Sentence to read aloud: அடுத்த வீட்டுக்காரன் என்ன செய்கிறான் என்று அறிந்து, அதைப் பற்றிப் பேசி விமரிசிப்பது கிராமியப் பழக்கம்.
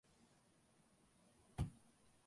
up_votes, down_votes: 0, 2